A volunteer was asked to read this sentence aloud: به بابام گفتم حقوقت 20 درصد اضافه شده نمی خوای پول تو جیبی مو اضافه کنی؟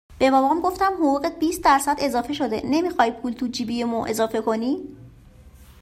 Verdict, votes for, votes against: rejected, 0, 2